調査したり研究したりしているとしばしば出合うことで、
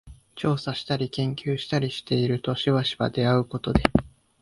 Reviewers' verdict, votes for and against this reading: rejected, 1, 2